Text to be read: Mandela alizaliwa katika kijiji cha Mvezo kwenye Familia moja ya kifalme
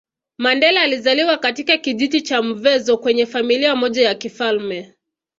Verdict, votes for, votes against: accepted, 2, 0